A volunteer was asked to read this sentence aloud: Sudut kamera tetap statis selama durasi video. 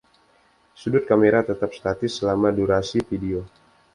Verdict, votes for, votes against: accepted, 2, 0